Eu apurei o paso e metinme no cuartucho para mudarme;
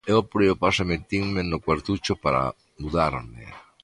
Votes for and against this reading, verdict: 2, 0, accepted